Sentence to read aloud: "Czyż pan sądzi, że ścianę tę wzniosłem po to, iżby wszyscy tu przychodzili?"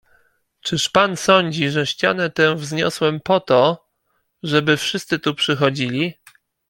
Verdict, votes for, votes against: rejected, 0, 2